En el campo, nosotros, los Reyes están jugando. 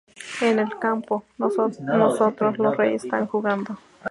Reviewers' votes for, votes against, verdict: 0, 2, rejected